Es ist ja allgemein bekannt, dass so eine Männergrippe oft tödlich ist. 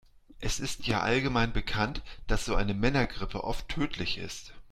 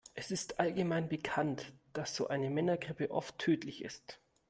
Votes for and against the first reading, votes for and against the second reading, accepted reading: 2, 0, 1, 2, first